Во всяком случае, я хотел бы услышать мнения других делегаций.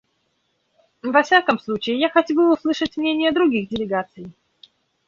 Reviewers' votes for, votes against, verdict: 0, 2, rejected